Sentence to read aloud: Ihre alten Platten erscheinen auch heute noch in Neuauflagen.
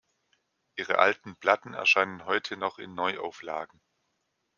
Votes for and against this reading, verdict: 2, 3, rejected